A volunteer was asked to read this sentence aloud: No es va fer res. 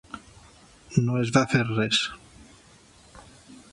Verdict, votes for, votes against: accepted, 3, 1